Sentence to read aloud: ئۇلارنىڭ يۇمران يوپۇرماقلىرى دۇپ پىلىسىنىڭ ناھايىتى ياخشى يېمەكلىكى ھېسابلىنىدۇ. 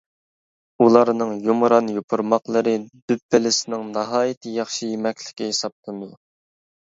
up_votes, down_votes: 1, 2